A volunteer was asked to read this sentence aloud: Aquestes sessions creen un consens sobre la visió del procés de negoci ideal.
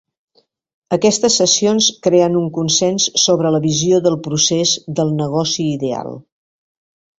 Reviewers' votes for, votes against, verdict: 0, 2, rejected